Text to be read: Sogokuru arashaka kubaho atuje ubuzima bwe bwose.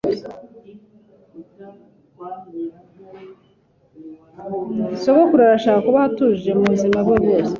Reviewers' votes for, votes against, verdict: 2, 1, accepted